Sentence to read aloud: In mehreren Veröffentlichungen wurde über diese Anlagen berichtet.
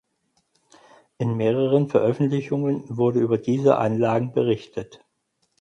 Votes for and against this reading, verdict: 4, 0, accepted